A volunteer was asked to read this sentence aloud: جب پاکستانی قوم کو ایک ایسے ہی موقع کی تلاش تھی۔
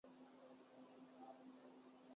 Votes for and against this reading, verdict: 0, 36, rejected